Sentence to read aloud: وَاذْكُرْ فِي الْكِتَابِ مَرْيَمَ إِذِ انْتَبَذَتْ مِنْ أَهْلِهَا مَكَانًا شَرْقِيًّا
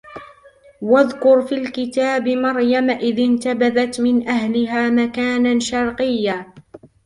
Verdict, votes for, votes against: rejected, 0, 2